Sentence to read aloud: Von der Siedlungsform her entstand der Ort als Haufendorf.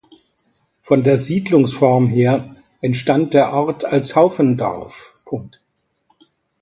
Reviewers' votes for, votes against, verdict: 0, 2, rejected